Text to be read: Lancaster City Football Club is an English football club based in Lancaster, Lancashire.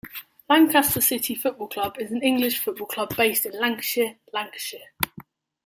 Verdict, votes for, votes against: rejected, 0, 2